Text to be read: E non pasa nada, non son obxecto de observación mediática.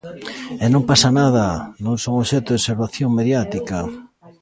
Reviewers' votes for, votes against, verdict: 1, 2, rejected